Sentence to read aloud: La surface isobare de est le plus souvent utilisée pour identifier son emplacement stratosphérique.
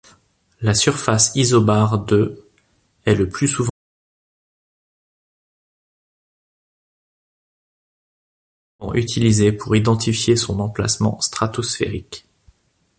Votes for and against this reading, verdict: 0, 2, rejected